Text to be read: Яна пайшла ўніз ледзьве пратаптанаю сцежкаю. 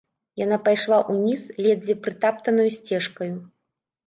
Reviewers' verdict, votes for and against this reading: rejected, 0, 3